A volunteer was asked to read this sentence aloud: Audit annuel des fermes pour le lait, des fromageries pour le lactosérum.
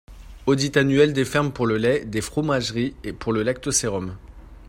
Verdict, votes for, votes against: rejected, 1, 2